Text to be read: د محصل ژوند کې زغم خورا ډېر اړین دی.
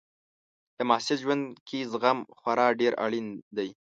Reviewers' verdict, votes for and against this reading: accepted, 2, 0